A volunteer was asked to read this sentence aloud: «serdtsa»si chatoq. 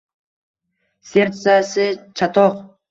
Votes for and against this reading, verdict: 2, 0, accepted